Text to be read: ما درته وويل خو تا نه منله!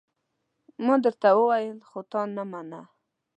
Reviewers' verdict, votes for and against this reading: rejected, 0, 2